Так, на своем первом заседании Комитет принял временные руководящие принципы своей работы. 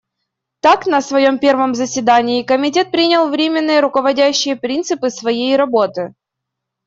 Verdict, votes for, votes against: accepted, 2, 0